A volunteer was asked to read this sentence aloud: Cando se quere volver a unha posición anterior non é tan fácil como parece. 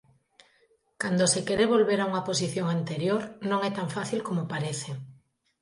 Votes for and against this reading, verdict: 2, 0, accepted